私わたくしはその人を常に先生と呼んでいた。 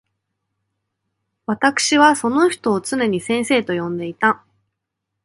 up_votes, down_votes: 2, 1